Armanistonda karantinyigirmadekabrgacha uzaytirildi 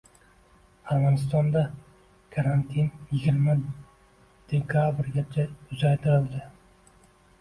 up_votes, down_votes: 0, 2